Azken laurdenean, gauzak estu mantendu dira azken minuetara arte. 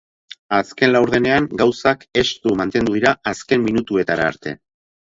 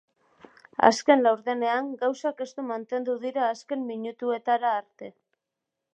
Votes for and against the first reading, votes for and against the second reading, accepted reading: 4, 0, 3, 7, first